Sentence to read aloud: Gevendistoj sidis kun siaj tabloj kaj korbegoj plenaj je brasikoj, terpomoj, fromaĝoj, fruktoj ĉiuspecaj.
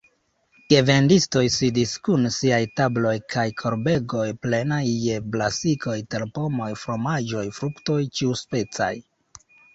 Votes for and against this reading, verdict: 0, 2, rejected